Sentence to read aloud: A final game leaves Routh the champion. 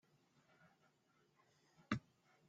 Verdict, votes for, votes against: rejected, 1, 2